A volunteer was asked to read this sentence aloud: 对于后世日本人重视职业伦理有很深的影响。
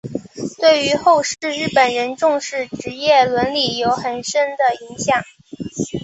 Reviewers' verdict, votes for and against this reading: accepted, 3, 0